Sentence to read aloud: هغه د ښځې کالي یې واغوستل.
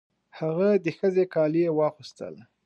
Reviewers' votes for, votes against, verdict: 2, 0, accepted